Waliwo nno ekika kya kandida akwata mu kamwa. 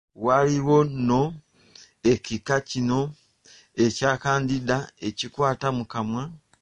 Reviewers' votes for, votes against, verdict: 0, 2, rejected